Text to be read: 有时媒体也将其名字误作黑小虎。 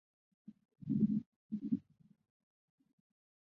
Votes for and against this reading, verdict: 0, 5, rejected